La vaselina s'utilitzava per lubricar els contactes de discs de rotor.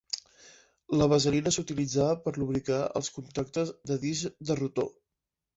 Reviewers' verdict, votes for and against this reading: accepted, 3, 0